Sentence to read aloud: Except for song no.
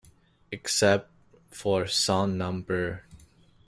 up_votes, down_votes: 0, 2